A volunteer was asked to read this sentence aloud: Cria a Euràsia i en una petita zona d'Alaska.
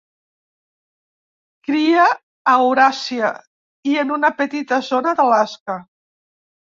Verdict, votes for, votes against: accepted, 2, 1